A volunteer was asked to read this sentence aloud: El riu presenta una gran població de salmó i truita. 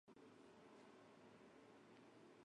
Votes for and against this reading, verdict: 0, 2, rejected